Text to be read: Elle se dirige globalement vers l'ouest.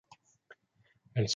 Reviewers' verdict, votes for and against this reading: rejected, 0, 2